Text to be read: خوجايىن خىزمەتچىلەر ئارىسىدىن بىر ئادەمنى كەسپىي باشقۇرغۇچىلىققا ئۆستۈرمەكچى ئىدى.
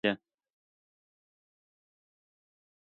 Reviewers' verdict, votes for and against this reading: rejected, 0, 2